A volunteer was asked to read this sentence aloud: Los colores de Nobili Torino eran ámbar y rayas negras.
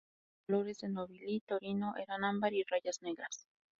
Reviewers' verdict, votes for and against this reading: rejected, 0, 2